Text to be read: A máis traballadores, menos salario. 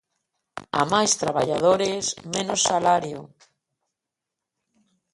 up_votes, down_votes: 2, 0